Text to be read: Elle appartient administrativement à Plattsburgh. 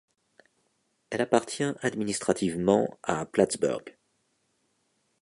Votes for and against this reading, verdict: 3, 0, accepted